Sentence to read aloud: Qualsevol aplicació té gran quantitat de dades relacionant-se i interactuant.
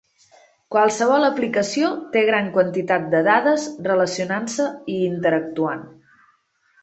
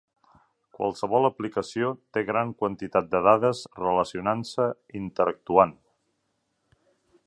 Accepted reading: first